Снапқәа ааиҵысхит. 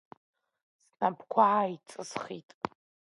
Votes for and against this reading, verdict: 2, 0, accepted